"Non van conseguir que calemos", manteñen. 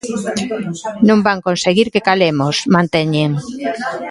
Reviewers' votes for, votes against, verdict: 2, 1, accepted